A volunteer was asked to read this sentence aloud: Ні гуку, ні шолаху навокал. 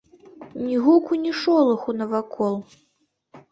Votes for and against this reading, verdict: 1, 2, rejected